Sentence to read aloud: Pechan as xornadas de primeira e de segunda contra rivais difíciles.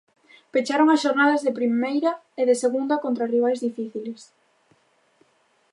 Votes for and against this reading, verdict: 0, 2, rejected